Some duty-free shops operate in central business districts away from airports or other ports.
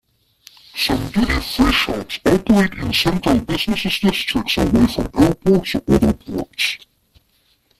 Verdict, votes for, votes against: rejected, 0, 2